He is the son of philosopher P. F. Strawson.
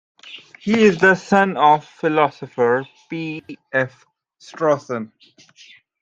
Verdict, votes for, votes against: accepted, 2, 0